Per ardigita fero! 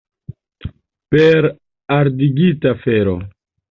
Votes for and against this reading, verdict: 2, 0, accepted